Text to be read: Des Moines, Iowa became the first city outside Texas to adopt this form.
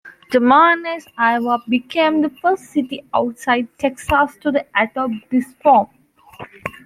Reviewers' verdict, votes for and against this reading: rejected, 0, 2